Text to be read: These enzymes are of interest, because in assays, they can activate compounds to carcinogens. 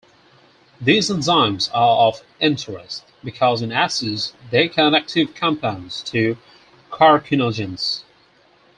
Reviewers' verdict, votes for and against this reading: rejected, 2, 4